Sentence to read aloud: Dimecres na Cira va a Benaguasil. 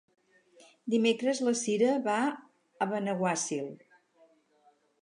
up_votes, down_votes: 0, 4